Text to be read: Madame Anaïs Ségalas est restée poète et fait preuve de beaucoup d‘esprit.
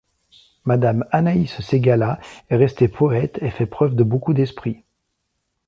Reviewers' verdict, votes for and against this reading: accepted, 2, 0